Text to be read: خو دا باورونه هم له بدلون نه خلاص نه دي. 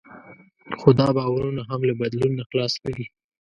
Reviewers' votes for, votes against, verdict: 2, 0, accepted